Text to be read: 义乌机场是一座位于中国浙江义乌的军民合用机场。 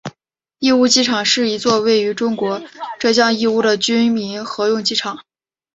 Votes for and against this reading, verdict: 1, 2, rejected